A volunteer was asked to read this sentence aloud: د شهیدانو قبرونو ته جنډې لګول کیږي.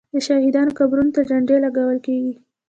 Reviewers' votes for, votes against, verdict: 1, 2, rejected